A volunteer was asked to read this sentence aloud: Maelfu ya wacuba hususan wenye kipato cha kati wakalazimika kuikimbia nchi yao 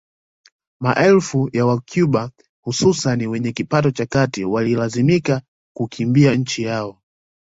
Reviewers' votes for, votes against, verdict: 2, 1, accepted